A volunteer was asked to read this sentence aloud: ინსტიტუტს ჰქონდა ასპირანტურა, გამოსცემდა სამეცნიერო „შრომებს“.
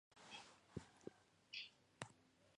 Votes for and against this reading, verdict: 0, 2, rejected